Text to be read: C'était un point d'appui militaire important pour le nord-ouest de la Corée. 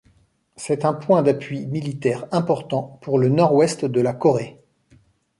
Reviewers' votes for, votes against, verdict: 1, 2, rejected